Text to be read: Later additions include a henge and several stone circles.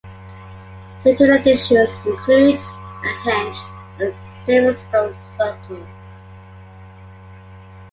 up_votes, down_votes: 3, 2